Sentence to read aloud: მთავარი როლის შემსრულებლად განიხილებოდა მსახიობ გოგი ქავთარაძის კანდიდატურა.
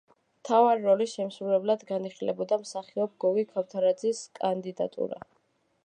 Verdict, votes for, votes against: accepted, 2, 0